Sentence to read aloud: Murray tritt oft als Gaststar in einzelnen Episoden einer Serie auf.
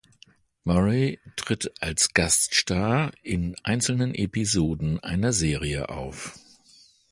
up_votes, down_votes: 0, 2